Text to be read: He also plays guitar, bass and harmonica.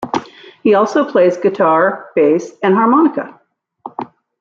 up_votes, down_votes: 2, 0